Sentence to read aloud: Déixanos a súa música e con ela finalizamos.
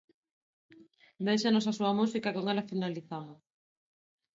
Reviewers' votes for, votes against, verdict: 2, 0, accepted